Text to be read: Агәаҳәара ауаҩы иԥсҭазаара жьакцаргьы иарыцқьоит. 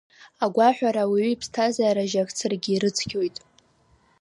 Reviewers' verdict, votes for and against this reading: rejected, 0, 2